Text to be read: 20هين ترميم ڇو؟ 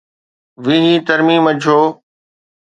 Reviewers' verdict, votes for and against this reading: rejected, 0, 2